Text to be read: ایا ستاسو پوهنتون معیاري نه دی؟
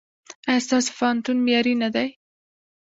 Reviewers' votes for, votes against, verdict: 0, 2, rejected